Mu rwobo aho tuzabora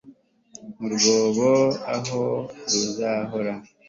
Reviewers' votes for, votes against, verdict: 2, 0, accepted